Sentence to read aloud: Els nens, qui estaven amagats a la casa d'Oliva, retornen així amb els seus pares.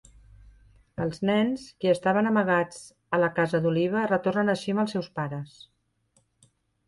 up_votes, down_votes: 2, 0